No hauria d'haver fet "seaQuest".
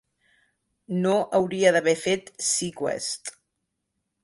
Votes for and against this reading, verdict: 2, 0, accepted